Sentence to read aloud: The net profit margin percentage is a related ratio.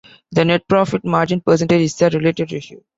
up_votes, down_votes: 0, 2